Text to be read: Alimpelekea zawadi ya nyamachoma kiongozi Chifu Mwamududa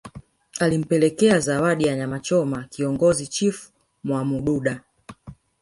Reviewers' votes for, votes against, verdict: 1, 2, rejected